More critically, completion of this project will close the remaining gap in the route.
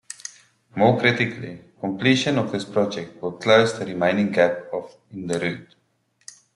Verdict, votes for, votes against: accepted, 2, 1